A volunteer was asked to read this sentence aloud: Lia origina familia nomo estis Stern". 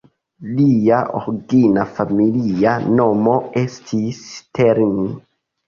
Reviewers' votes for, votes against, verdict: 2, 1, accepted